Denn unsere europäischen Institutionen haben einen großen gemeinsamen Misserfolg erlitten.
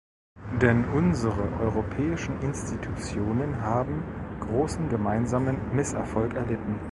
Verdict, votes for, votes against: rejected, 1, 2